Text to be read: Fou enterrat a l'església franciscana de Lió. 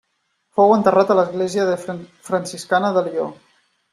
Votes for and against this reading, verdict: 0, 2, rejected